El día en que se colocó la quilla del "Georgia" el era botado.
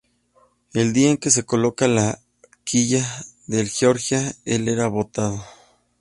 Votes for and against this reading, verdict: 1, 2, rejected